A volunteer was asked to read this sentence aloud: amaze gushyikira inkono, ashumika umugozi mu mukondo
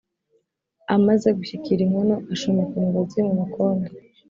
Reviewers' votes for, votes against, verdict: 2, 0, accepted